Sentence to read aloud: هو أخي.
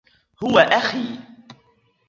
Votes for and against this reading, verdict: 1, 2, rejected